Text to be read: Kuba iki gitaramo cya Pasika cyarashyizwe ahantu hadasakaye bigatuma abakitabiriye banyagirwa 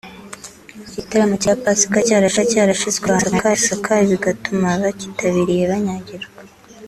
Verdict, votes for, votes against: rejected, 0, 3